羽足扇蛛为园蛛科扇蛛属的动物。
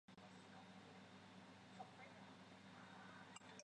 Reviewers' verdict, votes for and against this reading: rejected, 0, 2